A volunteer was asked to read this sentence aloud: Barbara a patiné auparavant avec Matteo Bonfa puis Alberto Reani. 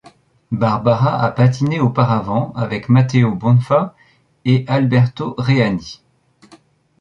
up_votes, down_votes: 0, 2